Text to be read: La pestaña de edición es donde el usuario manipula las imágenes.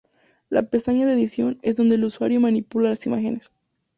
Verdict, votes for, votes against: accepted, 2, 0